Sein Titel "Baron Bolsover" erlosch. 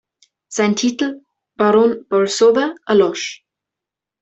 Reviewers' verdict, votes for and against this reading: accepted, 2, 0